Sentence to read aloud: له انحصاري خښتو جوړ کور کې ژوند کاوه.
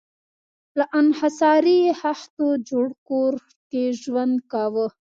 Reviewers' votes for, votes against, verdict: 2, 0, accepted